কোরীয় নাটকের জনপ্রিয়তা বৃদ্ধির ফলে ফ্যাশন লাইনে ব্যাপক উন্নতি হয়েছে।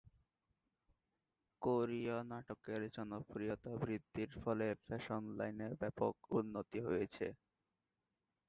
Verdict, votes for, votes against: rejected, 3, 6